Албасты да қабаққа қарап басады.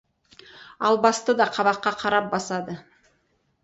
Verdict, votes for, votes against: accepted, 2, 0